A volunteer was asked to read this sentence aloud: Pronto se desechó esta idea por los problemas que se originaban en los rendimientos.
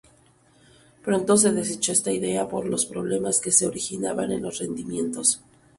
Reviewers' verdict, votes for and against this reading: rejected, 0, 2